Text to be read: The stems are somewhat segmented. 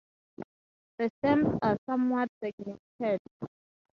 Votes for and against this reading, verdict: 0, 4, rejected